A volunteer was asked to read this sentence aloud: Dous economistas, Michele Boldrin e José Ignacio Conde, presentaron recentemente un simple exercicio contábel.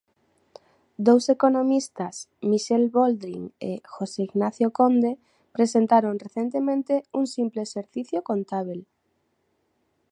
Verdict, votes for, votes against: accepted, 2, 1